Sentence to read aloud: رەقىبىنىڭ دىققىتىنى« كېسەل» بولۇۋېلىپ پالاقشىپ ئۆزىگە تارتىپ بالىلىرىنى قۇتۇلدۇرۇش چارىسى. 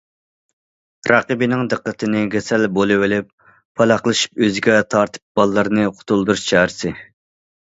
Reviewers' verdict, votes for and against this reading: rejected, 1, 2